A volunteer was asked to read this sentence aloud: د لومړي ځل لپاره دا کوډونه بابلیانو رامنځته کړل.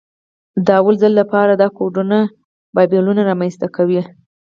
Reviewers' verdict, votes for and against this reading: rejected, 2, 4